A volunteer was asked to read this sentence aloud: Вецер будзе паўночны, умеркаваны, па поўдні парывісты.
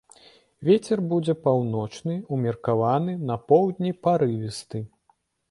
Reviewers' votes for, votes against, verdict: 0, 2, rejected